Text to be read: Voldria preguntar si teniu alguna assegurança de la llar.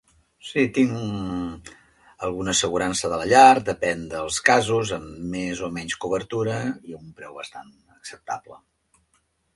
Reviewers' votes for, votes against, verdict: 0, 2, rejected